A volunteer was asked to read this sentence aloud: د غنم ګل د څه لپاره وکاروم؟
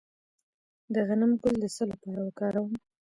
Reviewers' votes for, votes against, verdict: 0, 2, rejected